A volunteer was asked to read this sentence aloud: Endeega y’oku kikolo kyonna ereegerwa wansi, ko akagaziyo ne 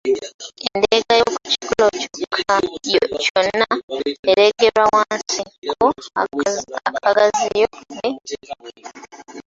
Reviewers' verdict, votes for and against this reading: rejected, 1, 2